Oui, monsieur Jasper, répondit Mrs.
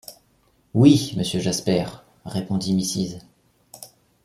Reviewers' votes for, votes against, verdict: 1, 2, rejected